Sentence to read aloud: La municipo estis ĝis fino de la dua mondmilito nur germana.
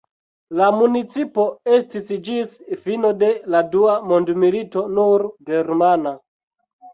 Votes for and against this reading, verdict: 2, 0, accepted